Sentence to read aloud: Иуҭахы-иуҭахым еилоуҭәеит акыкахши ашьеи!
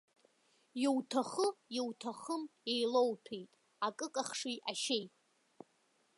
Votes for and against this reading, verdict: 1, 2, rejected